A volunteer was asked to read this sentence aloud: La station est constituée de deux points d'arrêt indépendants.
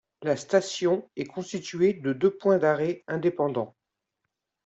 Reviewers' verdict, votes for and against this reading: accepted, 2, 0